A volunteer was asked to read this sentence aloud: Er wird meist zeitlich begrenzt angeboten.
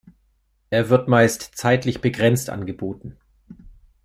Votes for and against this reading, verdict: 2, 0, accepted